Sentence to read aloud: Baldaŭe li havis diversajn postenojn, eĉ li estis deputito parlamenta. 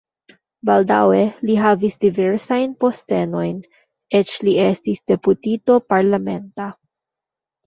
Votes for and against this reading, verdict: 2, 1, accepted